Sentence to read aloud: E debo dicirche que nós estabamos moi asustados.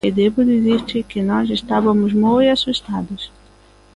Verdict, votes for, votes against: rejected, 0, 2